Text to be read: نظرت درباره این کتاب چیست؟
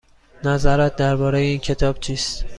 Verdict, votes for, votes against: accepted, 2, 0